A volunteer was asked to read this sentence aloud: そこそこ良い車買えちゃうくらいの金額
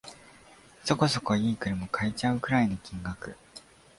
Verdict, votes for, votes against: accepted, 2, 0